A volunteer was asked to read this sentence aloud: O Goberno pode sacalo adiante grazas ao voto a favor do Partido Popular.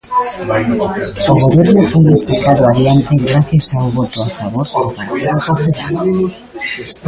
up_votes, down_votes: 0, 2